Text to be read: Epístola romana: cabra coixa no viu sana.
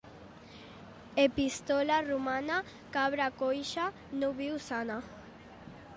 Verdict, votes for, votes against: accepted, 2, 0